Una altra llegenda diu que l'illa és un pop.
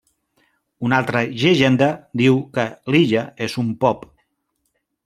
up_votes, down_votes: 1, 2